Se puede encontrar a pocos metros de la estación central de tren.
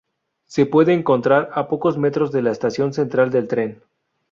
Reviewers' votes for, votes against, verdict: 2, 2, rejected